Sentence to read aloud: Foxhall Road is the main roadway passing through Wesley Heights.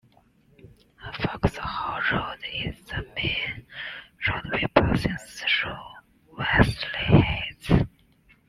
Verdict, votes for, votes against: accepted, 2, 0